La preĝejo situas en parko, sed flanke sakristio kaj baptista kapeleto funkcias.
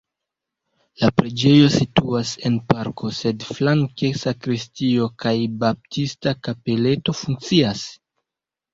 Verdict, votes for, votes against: accepted, 2, 0